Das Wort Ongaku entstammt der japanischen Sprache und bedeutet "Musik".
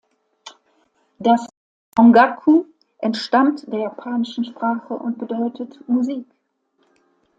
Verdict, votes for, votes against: rejected, 1, 2